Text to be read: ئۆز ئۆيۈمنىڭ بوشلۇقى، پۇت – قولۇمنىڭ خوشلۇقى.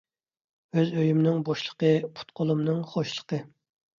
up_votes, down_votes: 2, 0